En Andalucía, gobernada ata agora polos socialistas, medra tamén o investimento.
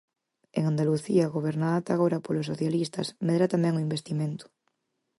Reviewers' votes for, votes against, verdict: 4, 0, accepted